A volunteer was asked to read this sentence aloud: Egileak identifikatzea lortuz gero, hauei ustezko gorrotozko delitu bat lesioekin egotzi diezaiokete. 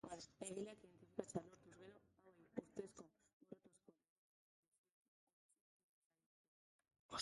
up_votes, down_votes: 0, 3